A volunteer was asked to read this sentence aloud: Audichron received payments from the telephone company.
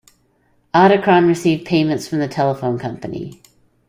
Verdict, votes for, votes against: accepted, 2, 0